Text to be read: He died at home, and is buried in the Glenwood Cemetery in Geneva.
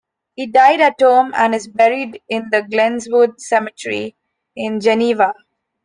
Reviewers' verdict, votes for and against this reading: rejected, 0, 2